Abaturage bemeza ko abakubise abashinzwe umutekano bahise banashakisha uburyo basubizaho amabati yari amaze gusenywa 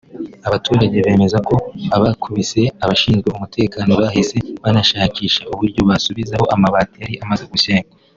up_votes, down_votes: 4, 2